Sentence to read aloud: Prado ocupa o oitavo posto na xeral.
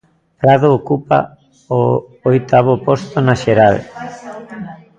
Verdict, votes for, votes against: rejected, 0, 2